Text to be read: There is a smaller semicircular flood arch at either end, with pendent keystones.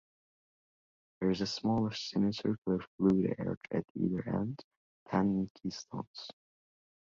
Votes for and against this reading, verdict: 1, 2, rejected